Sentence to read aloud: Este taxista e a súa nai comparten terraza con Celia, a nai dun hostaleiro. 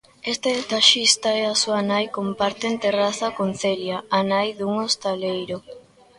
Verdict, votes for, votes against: rejected, 0, 2